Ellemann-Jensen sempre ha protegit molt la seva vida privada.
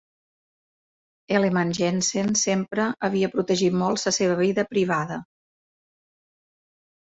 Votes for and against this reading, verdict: 0, 2, rejected